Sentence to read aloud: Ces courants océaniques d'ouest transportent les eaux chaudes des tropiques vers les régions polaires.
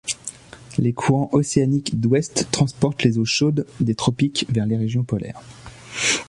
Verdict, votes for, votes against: rejected, 0, 2